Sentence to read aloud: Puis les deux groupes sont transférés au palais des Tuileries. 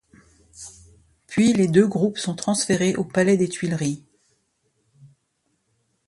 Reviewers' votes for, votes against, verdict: 2, 0, accepted